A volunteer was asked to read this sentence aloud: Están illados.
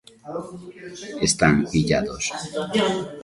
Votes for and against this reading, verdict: 1, 2, rejected